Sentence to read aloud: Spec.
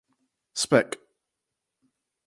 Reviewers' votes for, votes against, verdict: 4, 0, accepted